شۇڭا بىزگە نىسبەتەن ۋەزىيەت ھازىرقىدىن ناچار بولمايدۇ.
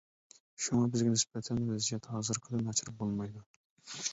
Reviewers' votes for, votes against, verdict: 0, 2, rejected